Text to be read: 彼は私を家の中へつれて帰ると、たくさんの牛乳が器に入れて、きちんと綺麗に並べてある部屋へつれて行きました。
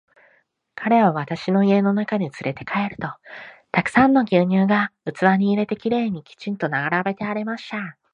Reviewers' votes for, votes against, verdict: 1, 3, rejected